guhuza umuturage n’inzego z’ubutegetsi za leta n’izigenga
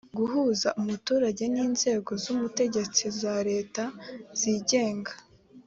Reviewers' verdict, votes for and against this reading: accepted, 3, 1